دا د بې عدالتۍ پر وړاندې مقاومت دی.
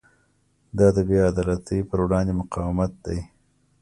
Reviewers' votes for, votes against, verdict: 2, 0, accepted